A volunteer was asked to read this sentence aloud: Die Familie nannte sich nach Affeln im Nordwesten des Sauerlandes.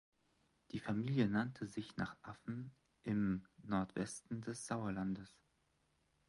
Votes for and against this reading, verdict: 2, 1, accepted